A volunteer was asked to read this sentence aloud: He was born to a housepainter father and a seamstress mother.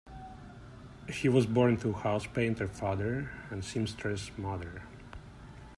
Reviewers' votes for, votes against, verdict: 0, 2, rejected